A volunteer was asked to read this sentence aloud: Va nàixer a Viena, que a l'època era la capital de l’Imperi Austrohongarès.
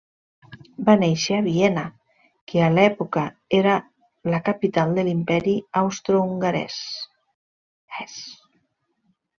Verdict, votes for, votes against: rejected, 1, 2